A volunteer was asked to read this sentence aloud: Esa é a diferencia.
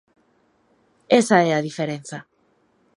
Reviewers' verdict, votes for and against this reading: rejected, 1, 2